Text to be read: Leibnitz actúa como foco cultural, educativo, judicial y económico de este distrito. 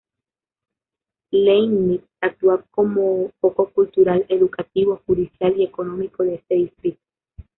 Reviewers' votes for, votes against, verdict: 0, 2, rejected